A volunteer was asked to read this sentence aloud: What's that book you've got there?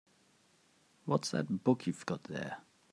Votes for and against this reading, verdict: 3, 0, accepted